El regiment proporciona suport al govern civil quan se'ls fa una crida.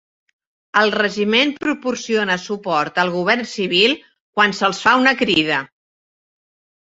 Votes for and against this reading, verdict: 3, 0, accepted